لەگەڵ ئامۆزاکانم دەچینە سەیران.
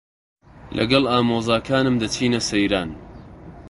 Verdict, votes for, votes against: accepted, 2, 0